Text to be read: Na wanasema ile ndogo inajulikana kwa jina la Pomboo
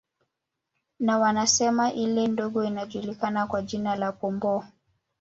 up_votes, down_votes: 1, 2